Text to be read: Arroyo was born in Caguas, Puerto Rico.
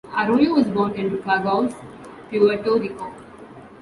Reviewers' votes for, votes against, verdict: 2, 0, accepted